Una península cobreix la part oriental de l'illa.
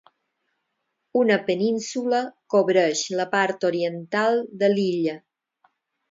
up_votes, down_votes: 4, 0